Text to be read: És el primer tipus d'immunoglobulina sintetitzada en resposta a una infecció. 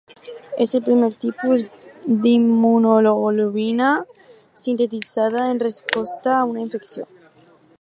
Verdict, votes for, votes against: rejected, 2, 4